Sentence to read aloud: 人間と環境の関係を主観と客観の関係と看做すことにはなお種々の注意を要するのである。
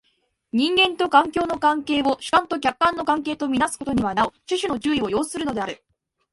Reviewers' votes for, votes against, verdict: 2, 0, accepted